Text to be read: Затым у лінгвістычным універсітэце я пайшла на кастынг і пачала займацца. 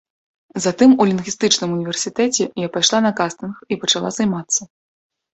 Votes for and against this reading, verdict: 2, 0, accepted